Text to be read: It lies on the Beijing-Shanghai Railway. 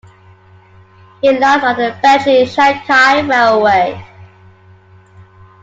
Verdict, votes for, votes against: accepted, 2, 1